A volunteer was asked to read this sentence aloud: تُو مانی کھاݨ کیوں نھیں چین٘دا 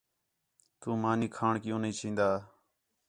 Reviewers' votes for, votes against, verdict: 4, 0, accepted